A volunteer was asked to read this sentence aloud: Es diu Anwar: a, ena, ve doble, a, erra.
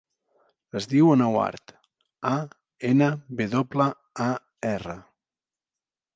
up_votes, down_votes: 2, 0